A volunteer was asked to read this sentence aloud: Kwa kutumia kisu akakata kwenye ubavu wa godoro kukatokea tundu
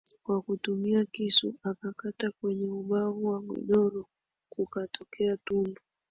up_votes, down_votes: 2, 0